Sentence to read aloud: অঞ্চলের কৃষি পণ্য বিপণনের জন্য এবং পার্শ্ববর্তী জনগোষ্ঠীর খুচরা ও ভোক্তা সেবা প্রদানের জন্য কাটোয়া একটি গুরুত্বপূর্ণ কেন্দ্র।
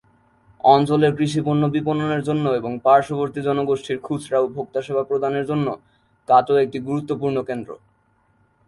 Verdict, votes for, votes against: accepted, 2, 0